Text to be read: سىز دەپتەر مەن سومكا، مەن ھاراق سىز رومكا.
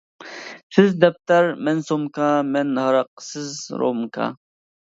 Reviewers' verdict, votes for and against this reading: accepted, 2, 0